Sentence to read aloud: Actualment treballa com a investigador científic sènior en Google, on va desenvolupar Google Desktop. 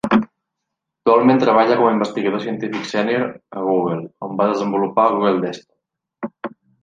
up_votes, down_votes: 0, 2